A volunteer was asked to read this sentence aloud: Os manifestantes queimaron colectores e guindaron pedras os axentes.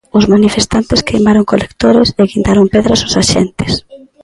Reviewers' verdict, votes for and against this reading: accepted, 2, 0